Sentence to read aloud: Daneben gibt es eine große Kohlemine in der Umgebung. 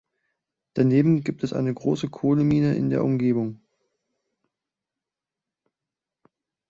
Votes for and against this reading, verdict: 2, 0, accepted